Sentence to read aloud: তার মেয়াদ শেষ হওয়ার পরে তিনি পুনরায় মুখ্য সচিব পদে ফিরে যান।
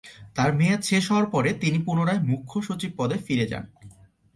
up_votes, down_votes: 2, 0